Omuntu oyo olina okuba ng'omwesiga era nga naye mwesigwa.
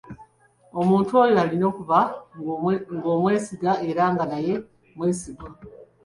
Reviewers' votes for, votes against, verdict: 0, 2, rejected